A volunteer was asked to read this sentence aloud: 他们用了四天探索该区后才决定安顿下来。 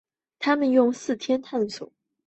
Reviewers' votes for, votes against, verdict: 0, 3, rejected